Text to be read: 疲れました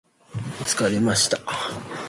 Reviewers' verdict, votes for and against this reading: accepted, 6, 0